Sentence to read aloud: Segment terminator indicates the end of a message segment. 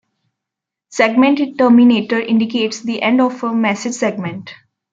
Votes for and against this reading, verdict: 1, 2, rejected